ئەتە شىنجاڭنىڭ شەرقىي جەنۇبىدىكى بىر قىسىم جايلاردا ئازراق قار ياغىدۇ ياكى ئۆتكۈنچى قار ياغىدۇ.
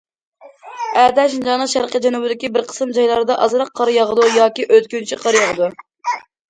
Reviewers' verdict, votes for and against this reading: accepted, 2, 0